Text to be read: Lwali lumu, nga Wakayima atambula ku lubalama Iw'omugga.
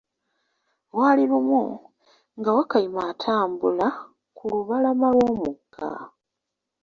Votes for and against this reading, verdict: 0, 2, rejected